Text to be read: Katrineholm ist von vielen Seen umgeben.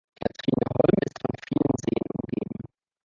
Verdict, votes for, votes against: rejected, 1, 2